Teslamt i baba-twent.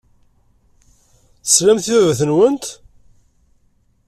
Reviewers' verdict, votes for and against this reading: accepted, 2, 0